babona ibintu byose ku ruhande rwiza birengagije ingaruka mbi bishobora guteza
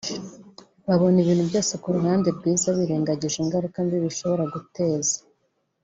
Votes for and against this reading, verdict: 2, 0, accepted